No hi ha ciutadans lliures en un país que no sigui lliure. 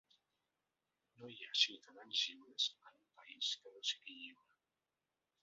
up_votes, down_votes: 1, 2